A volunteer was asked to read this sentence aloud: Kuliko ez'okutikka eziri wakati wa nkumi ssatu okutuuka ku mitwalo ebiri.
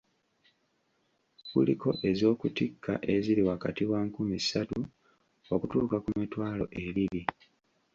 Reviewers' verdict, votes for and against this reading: rejected, 1, 2